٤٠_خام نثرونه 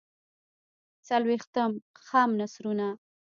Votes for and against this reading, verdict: 0, 2, rejected